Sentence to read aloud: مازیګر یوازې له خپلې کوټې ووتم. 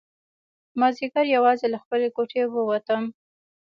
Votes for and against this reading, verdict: 2, 0, accepted